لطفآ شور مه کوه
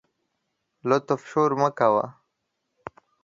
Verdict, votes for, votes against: rejected, 1, 2